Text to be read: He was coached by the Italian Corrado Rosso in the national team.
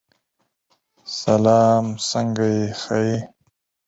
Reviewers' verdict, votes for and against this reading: rejected, 0, 4